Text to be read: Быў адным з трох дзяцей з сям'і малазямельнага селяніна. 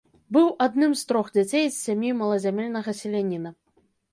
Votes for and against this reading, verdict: 1, 2, rejected